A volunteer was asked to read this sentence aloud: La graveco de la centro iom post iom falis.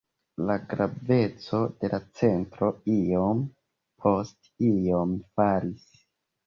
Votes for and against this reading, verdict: 2, 0, accepted